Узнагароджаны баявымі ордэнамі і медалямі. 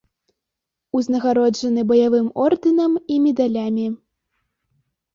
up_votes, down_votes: 1, 2